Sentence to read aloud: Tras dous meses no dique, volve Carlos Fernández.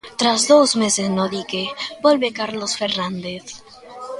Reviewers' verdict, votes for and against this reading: accepted, 2, 0